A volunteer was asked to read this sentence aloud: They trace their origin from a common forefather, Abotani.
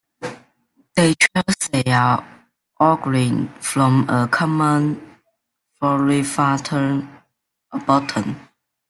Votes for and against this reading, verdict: 1, 2, rejected